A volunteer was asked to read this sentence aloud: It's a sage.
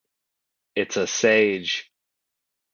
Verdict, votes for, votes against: accepted, 2, 0